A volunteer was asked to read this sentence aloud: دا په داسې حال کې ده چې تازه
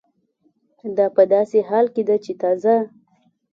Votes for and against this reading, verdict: 2, 0, accepted